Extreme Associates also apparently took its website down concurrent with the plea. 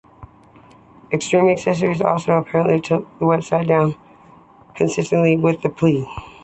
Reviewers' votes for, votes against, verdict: 2, 1, accepted